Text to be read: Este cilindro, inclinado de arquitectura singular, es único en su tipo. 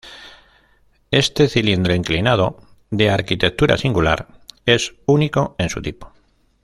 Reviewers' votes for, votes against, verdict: 2, 0, accepted